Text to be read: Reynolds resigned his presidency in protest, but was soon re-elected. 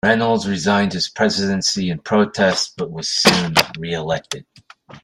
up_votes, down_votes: 1, 2